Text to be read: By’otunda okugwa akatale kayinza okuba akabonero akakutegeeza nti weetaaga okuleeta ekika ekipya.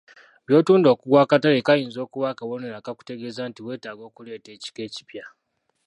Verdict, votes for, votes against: rejected, 1, 2